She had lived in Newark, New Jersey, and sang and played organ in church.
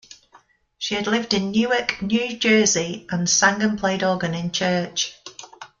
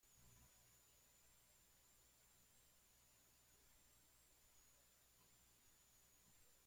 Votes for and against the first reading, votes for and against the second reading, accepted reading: 2, 0, 0, 2, first